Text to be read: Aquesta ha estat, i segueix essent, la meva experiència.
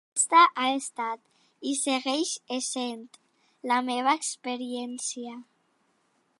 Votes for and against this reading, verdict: 0, 2, rejected